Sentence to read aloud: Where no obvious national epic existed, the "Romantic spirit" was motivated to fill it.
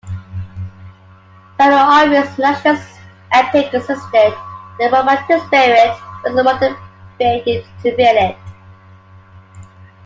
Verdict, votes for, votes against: rejected, 0, 2